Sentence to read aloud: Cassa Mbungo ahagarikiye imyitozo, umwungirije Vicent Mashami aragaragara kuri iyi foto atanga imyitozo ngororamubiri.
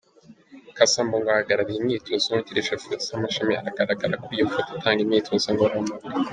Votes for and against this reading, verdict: 1, 2, rejected